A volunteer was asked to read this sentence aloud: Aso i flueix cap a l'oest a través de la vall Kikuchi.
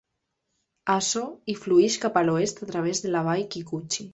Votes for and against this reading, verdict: 2, 0, accepted